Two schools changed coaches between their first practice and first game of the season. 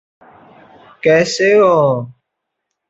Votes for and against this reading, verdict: 0, 2, rejected